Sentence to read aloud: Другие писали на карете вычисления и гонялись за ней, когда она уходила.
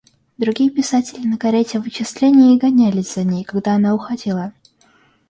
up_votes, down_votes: 0, 2